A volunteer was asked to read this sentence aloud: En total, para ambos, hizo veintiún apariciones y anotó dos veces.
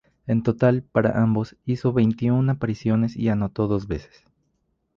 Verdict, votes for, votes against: accepted, 2, 0